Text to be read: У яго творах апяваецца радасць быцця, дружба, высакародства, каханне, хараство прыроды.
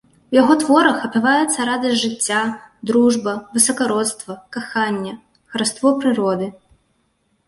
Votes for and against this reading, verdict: 1, 2, rejected